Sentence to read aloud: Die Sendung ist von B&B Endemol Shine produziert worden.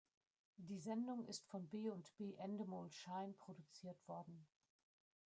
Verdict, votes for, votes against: rejected, 1, 2